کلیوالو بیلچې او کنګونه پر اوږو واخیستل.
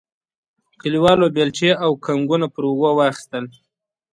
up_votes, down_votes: 2, 0